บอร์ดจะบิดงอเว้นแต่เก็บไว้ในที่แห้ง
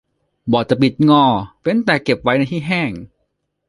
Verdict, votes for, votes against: accepted, 2, 0